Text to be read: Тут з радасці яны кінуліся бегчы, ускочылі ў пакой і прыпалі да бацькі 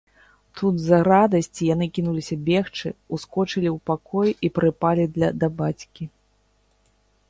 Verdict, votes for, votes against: rejected, 0, 2